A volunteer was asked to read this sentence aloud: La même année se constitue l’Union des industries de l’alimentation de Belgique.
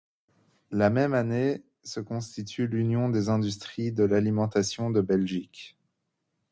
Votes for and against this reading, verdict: 2, 0, accepted